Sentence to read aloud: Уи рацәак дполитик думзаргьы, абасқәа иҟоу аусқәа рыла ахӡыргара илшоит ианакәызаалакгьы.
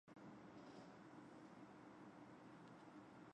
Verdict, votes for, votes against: rejected, 0, 2